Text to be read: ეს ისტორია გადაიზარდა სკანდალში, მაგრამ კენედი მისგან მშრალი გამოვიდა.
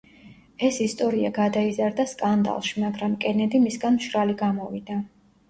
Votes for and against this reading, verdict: 2, 0, accepted